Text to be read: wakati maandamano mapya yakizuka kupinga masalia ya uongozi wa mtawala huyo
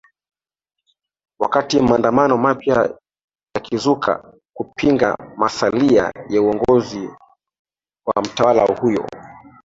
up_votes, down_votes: 2, 1